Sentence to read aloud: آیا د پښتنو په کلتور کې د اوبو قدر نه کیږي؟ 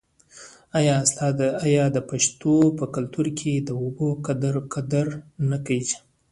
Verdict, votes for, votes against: rejected, 1, 2